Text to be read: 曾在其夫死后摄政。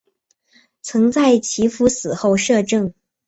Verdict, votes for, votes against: accepted, 2, 0